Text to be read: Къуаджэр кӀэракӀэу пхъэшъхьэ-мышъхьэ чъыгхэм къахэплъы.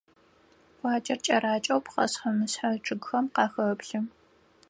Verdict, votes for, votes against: accepted, 4, 0